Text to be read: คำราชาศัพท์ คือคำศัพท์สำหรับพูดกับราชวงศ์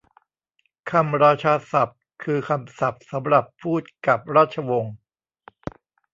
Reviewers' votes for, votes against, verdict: 1, 2, rejected